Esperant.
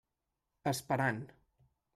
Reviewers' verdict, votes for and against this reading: accepted, 3, 0